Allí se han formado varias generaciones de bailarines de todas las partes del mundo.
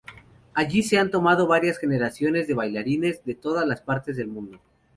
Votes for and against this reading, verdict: 4, 2, accepted